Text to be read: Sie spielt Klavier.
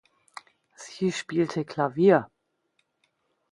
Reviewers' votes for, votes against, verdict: 0, 2, rejected